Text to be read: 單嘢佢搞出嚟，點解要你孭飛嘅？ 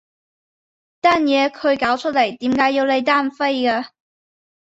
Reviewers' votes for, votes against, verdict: 0, 2, rejected